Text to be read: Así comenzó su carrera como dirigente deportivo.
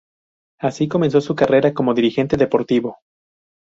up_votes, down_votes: 4, 0